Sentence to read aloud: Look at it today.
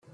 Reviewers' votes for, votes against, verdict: 1, 2, rejected